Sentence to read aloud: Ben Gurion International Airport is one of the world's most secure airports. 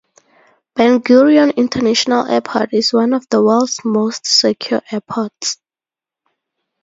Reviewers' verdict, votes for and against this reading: accepted, 2, 0